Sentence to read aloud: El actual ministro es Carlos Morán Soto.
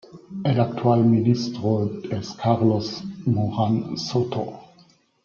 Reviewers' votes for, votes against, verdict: 0, 2, rejected